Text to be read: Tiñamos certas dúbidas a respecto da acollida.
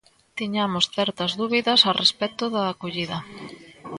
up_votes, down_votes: 2, 1